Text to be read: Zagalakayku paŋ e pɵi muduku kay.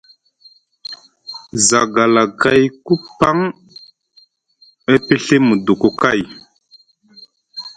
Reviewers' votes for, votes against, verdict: 2, 0, accepted